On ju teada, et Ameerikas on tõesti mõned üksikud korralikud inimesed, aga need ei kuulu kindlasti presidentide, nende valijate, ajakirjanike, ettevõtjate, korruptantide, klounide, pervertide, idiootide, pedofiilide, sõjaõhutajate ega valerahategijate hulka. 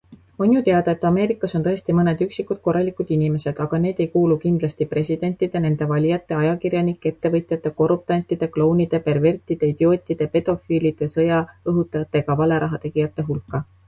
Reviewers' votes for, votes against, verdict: 2, 0, accepted